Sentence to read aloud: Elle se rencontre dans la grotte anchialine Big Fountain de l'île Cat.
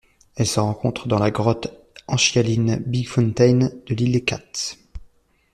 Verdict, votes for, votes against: accepted, 2, 1